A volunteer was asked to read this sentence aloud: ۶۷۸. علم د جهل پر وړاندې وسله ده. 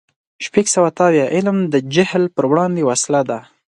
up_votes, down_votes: 0, 2